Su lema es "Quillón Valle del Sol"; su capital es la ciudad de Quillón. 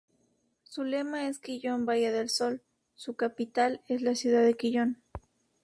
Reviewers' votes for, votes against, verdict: 2, 0, accepted